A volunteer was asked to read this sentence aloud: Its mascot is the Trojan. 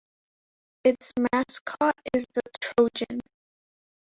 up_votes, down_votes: 0, 2